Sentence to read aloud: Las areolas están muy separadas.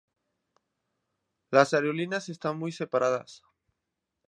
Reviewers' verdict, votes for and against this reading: rejected, 0, 2